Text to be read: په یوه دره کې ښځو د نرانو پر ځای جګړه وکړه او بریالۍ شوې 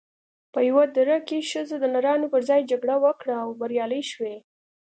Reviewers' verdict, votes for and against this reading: accepted, 2, 0